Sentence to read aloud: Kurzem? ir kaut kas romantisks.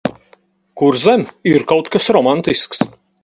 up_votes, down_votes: 2, 4